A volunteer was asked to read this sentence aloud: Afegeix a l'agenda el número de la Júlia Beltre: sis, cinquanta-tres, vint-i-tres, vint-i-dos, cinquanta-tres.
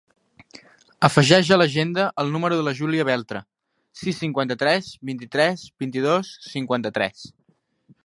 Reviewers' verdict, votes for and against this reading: accepted, 3, 0